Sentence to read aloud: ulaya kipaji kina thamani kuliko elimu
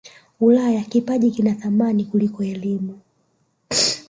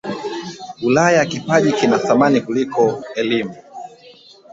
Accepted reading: second